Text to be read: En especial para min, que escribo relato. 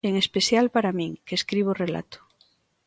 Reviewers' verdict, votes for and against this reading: accepted, 2, 0